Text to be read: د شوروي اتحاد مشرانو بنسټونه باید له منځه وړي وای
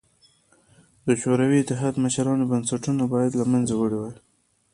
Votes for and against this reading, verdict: 2, 0, accepted